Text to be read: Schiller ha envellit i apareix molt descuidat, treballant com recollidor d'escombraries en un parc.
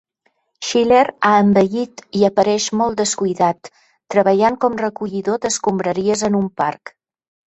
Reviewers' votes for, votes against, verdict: 3, 0, accepted